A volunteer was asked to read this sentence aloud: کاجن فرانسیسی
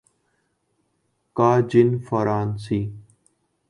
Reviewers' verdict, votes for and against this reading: rejected, 1, 3